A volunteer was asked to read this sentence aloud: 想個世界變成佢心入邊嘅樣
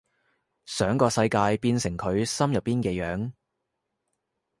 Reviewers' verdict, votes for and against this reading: accepted, 2, 0